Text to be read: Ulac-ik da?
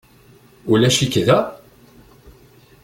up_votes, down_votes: 2, 0